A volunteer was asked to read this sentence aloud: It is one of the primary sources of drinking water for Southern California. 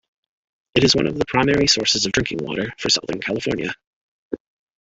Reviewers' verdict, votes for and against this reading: accepted, 2, 0